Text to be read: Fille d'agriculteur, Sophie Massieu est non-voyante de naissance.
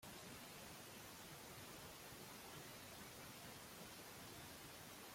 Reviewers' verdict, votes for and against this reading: rejected, 0, 2